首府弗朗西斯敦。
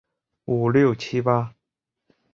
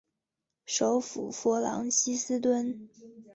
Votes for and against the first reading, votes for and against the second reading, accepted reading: 0, 7, 5, 1, second